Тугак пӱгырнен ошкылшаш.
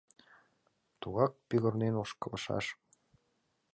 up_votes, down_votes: 2, 0